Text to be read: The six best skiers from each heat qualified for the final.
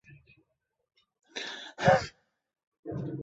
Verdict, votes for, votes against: rejected, 1, 2